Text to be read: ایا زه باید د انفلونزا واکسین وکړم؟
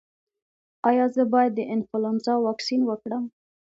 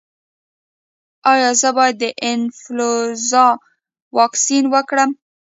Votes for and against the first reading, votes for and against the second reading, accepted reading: 2, 0, 1, 2, first